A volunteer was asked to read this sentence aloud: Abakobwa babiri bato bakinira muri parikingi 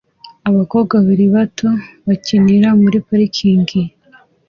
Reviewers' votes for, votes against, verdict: 2, 0, accepted